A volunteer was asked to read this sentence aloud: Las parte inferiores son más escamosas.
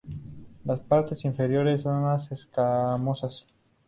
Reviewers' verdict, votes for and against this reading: accepted, 2, 0